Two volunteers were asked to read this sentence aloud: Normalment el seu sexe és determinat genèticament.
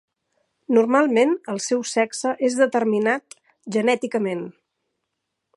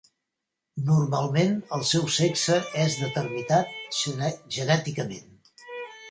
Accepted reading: first